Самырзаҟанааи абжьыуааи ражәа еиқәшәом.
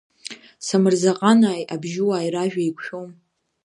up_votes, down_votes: 1, 2